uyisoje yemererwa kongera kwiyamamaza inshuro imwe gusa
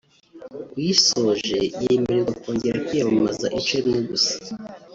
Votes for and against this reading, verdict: 1, 2, rejected